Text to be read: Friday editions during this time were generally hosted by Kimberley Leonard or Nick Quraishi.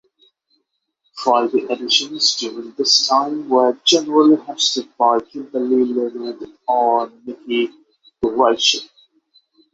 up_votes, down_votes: 3, 6